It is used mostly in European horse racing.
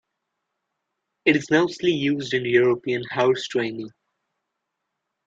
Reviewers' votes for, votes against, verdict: 0, 2, rejected